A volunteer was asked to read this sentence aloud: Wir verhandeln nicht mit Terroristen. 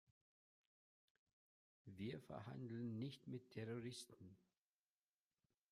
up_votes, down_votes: 1, 3